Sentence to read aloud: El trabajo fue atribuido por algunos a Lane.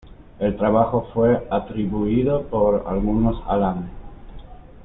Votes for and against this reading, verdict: 2, 1, accepted